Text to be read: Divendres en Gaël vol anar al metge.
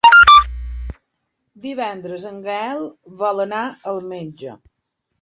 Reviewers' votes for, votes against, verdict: 0, 2, rejected